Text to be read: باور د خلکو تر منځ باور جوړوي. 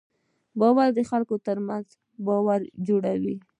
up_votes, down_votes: 1, 2